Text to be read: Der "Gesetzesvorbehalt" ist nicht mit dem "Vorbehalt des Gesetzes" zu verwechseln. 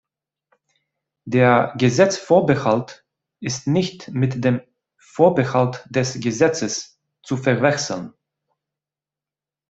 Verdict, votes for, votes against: rejected, 1, 2